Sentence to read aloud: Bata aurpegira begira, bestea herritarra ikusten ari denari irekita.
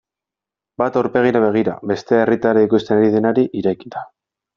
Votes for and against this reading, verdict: 0, 2, rejected